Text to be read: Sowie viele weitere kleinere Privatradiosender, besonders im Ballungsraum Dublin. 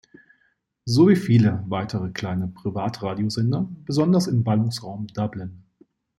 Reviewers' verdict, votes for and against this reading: rejected, 1, 2